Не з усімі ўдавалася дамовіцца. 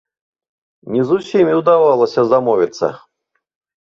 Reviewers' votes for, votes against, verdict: 1, 2, rejected